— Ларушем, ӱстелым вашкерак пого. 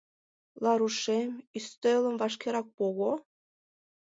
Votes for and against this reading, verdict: 2, 0, accepted